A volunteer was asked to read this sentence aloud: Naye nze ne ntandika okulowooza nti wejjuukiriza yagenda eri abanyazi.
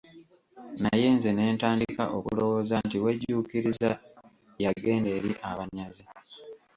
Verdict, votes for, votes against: accepted, 2, 1